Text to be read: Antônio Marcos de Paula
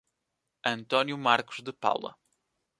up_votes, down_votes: 2, 0